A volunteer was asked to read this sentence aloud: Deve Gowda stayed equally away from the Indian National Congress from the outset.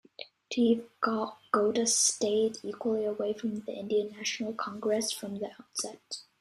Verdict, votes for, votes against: rejected, 1, 2